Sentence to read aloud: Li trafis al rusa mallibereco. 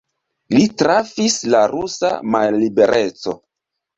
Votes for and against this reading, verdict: 2, 0, accepted